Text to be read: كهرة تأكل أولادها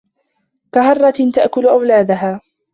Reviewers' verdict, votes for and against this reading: rejected, 1, 2